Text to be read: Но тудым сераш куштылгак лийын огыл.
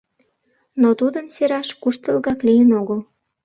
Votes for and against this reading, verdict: 2, 0, accepted